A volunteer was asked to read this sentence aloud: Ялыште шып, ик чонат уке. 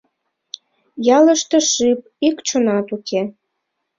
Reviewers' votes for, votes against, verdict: 0, 2, rejected